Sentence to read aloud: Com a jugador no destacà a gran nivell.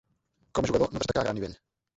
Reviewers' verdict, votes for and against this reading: rejected, 0, 2